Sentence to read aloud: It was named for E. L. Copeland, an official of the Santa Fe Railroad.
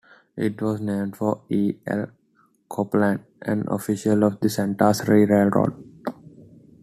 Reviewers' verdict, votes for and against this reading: accepted, 2, 0